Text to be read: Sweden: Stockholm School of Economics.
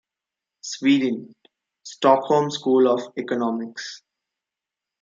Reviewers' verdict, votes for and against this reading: accepted, 2, 0